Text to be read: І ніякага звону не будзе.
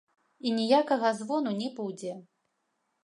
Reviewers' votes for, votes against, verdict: 2, 0, accepted